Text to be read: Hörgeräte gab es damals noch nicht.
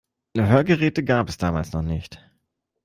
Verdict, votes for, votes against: rejected, 0, 2